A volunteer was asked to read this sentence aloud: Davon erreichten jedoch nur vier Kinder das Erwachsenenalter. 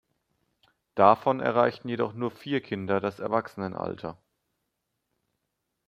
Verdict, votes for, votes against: accepted, 2, 0